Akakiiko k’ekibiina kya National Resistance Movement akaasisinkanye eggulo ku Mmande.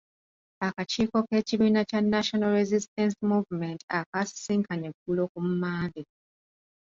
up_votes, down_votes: 3, 1